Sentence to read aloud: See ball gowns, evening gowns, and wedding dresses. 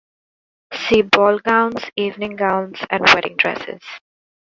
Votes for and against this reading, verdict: 2, 0, accepted